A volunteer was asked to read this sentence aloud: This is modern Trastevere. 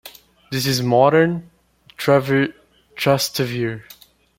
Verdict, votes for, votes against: rejected, 0, 2